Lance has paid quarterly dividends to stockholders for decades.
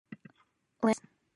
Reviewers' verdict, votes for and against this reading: rejected, 0, 2